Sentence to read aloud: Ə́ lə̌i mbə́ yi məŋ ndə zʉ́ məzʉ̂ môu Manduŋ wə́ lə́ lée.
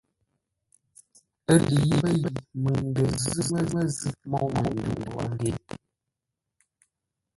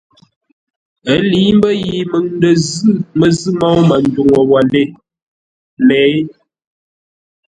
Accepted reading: second